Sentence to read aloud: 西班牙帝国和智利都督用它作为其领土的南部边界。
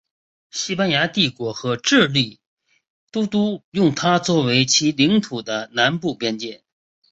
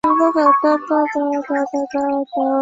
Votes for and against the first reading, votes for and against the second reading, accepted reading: 2, 0, 0, 2, first